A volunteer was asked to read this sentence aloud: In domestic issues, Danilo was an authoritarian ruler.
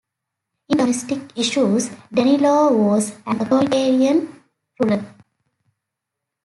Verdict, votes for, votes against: rejected, 0, 2